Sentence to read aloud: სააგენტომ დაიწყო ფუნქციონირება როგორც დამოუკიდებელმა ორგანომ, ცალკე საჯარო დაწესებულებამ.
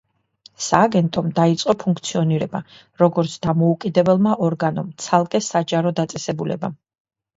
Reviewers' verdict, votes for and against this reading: rejected, 1, 2